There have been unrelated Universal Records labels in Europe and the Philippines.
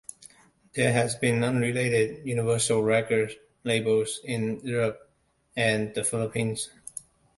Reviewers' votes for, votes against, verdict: 1, 2, rejected